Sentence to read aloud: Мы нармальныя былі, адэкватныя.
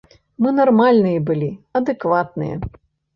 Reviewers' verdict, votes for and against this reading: accepted, 2, 0